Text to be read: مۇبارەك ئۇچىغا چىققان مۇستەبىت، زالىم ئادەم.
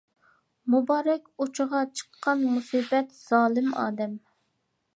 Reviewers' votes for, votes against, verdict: 0, 2, rejected